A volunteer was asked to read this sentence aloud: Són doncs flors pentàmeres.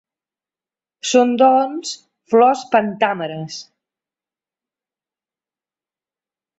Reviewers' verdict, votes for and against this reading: accepted, 2, 0